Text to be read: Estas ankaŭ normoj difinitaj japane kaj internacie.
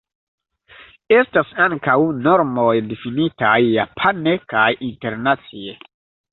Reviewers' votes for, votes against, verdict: 1, 2, rejected